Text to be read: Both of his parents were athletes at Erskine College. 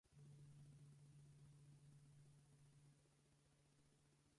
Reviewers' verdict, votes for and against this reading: rejected, 0, 4